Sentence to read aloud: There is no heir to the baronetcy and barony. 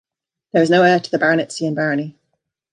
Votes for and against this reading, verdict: 2, 0, accepted